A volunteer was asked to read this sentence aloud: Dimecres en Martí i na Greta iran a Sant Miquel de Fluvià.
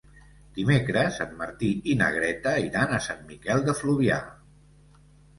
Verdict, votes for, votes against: accepted, 2, 0